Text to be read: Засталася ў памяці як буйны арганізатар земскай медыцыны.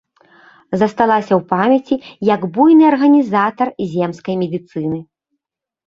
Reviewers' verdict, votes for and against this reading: rejected, 1, 3